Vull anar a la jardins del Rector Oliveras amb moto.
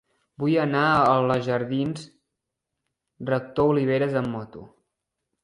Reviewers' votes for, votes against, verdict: 1, 2, rejected